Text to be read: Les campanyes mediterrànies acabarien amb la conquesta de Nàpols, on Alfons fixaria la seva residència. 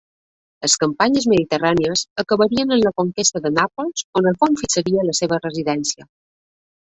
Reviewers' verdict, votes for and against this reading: accepted, 2, 1